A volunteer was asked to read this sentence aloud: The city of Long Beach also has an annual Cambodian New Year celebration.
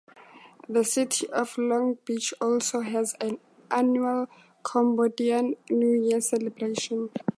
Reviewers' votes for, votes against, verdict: 4, 0, accepted